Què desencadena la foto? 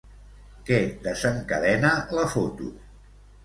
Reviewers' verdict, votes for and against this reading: accepted, 3, 0